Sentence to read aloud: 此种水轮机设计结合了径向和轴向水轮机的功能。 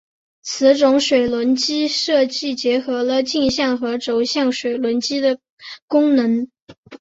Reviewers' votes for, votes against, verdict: 3, 0, accepted